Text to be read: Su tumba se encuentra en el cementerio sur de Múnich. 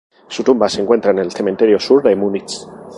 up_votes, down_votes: 6, 2